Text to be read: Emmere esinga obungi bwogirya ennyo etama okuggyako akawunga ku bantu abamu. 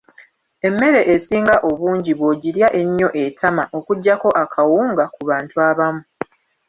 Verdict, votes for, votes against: rejected, 1, 2